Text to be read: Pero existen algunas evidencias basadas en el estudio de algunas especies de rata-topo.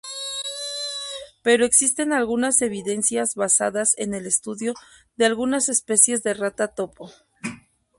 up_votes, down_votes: 0, 2